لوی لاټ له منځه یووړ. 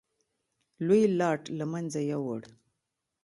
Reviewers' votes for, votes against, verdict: 1, 2, rejected